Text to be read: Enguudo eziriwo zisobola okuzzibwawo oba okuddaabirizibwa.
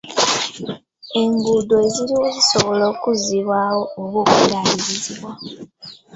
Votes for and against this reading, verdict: 0, 2, rejected